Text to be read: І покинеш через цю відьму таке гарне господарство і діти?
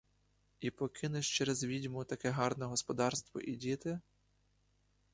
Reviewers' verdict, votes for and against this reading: rejected, 0, 2